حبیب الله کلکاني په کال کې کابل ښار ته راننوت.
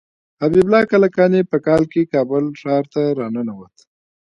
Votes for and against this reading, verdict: 1, 2, rejected